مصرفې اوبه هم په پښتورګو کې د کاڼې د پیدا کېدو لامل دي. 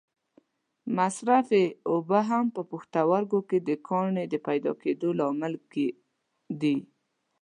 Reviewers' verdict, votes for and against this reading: rejected, 1, 2